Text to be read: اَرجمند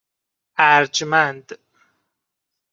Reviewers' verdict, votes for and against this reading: accepted, 2, 0